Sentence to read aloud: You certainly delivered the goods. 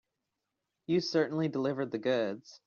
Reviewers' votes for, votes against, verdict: 3, 0, accepted